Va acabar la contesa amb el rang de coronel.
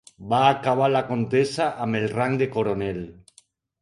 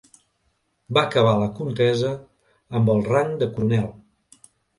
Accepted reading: first